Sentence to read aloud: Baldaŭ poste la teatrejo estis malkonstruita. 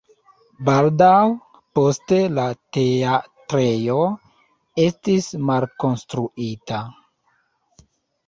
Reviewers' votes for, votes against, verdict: 2, 1, accepted